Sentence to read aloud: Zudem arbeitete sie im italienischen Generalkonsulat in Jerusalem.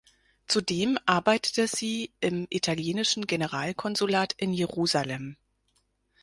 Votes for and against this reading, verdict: 4, 0, accepted